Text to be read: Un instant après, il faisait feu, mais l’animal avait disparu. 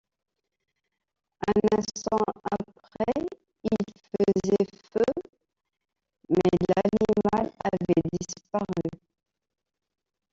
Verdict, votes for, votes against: rejected, 0, 2